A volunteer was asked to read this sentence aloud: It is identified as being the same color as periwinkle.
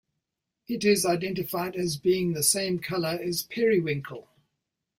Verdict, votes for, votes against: accepted, 2, 0